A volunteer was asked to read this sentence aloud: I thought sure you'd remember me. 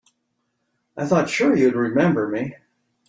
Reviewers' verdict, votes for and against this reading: accepted, 3, 0